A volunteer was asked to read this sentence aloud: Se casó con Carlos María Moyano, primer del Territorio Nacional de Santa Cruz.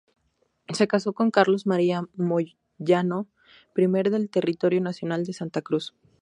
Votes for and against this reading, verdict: 2, 2, rejected